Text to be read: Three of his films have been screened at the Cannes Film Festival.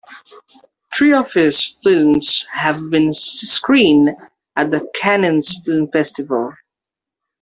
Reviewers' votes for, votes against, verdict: 0, 2, rejected